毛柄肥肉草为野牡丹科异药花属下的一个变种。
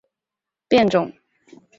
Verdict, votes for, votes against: rejected, 0, 4